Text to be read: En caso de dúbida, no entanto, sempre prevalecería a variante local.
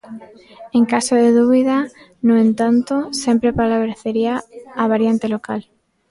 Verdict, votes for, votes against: rejected, 0, 2